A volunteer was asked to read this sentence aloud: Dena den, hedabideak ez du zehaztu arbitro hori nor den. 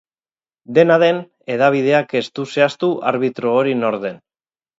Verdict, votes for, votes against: rejected, 2, 2